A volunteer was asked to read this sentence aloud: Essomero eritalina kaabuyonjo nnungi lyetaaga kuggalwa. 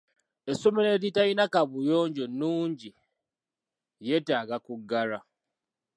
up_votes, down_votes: 3, 2